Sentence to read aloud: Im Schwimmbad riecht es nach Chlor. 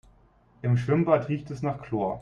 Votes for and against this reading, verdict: 2, 0, accepted